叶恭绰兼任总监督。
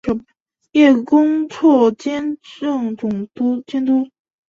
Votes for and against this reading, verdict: 1, 4, rejected